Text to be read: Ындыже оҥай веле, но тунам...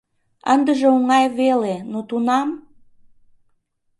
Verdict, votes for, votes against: accepted, 2, 0